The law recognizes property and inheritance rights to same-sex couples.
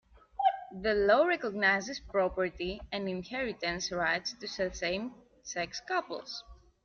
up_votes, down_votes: 0, 2